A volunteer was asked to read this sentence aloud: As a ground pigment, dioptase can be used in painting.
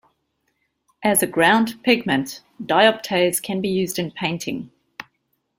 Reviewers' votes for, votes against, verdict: 2, 0, accepted